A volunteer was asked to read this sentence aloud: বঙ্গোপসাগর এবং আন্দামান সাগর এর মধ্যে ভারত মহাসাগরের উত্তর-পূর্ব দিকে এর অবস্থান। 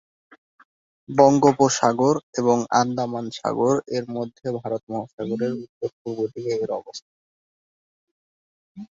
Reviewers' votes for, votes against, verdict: 1, 2, rejected